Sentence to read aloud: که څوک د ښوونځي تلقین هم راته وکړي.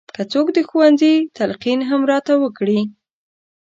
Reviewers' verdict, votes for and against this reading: accepted, 4, 0